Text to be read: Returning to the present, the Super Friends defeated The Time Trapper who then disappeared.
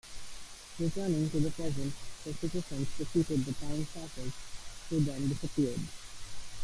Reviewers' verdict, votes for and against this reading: rejected, 0, 2